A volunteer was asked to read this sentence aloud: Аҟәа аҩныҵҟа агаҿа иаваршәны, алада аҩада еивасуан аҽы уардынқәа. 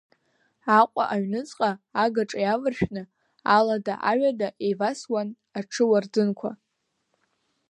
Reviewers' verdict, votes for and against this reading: accepted, 2, 0